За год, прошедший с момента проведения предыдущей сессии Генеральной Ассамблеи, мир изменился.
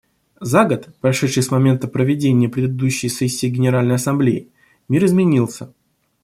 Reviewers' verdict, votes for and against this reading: accepted, 2, 0